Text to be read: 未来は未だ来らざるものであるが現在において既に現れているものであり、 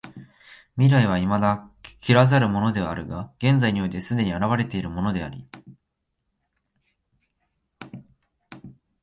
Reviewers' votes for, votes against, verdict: 0, 3, rejected